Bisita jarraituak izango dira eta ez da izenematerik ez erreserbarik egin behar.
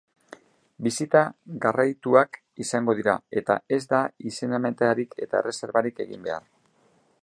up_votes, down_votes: 0, 2